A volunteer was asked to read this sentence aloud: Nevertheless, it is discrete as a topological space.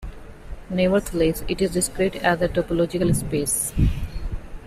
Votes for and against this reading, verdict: 1, 2, rejected